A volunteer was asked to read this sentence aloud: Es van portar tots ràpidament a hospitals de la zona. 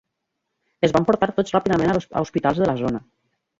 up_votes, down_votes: 1, 2